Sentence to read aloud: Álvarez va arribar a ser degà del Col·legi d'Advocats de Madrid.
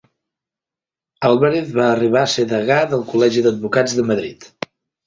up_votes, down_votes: 2, 0